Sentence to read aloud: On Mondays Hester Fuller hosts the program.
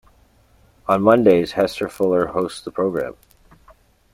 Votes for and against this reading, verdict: 3, 0, accepted